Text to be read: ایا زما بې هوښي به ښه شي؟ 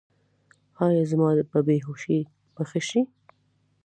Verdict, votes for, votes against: accepted, 2, 0